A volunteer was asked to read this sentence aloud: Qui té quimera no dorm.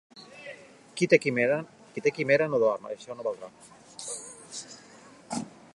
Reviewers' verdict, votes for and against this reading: rejected, 1, 2